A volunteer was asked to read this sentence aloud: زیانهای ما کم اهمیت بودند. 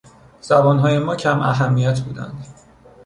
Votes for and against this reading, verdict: 1, 2, rejected